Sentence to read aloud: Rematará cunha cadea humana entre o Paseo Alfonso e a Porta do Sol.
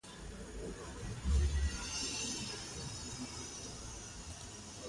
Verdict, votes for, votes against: rejected, 0, 2